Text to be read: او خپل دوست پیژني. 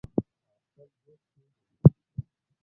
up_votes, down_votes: 2, 0